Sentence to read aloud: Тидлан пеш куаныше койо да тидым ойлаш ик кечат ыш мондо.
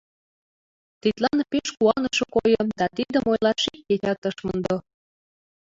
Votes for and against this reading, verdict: 0, 2, rejected